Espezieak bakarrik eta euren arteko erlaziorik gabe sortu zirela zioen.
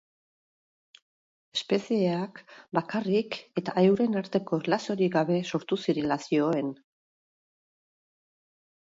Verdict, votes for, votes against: accepted, 2, 0